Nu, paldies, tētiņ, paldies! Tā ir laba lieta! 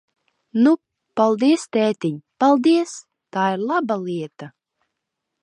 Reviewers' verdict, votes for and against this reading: accepted, 2, 0